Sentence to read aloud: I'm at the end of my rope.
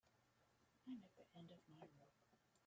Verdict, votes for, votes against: rejected, 0, 2